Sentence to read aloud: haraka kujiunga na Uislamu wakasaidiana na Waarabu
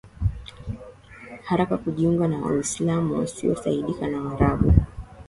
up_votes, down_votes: 1, 2